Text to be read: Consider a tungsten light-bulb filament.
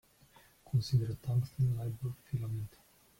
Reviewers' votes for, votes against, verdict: 0, 2, rejected